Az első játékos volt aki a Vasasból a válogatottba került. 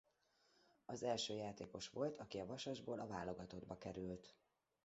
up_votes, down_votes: 2, 1